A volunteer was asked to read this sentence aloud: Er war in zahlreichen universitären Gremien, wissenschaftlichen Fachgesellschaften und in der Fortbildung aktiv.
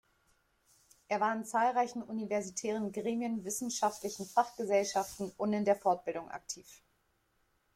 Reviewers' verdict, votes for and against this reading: accepted, 2, 0